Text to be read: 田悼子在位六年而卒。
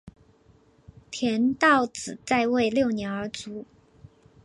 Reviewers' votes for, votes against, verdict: 2, 0, accepted